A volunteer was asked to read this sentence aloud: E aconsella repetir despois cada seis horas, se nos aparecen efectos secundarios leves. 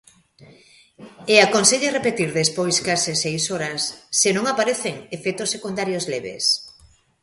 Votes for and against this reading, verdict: 1, 2, rejected